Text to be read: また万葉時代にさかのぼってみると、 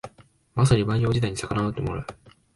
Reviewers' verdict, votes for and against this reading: rejected, 1, 2